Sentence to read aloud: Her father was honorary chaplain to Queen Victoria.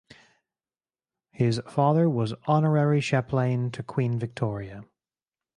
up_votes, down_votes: 0, 4